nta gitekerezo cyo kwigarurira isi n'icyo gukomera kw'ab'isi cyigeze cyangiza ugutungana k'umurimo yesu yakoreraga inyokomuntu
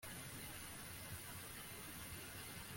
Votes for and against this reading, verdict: 0, 2, rejected